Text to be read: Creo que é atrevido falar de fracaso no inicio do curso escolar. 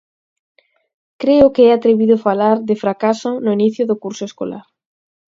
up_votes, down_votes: 4, 0